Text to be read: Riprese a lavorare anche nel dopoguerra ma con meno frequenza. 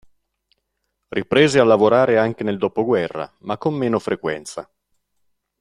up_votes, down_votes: 2, 0